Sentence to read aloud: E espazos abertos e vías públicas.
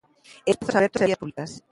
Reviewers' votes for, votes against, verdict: 0, 2, rejected